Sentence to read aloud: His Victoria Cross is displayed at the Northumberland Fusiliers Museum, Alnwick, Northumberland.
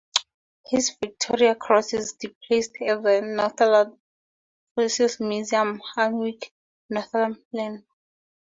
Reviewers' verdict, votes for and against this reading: accepted, 4, 0